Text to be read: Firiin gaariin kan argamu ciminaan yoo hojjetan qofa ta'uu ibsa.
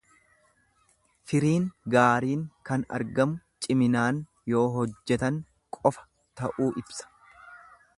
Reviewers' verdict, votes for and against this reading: accepted, 2, 0